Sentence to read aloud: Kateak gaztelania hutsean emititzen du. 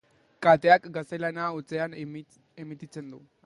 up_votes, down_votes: 2, 0